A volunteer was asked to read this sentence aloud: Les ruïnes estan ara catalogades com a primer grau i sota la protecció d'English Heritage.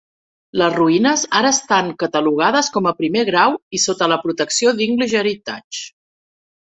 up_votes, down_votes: 1, 2